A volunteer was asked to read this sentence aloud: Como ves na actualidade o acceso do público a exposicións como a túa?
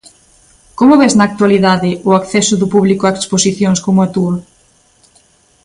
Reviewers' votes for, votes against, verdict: 2, 0, accepted